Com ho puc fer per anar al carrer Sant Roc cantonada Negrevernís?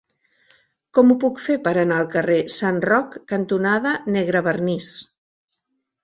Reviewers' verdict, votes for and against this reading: accepted, 4, 0